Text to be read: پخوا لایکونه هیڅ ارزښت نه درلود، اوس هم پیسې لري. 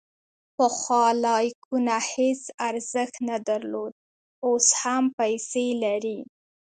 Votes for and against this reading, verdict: 2, 0, accepted